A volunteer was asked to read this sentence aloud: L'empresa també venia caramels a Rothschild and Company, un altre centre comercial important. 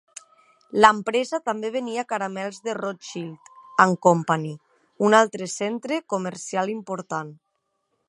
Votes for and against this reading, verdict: 0, 2, rejected